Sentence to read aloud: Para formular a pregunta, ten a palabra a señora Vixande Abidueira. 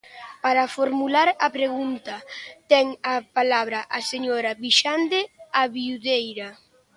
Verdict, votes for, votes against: rejected, 0, 2